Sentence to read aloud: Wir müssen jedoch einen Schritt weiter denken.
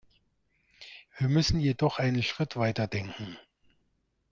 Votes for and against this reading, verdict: 2, 0, accepted